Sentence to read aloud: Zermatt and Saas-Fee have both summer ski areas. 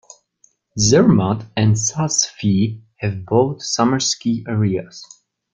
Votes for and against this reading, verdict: 2, 0, accepted